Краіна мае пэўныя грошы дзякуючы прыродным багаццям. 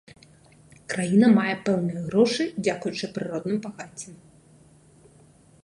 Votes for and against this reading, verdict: 2, 0, accepted